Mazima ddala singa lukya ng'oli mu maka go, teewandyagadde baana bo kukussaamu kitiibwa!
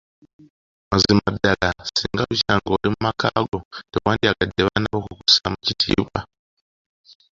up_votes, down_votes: 2, 1